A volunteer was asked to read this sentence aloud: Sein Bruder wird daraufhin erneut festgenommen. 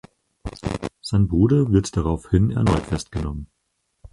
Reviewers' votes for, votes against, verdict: 2, 4, rejected